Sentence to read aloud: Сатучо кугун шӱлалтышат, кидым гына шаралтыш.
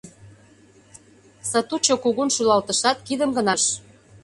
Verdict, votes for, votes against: rejected, 0, 2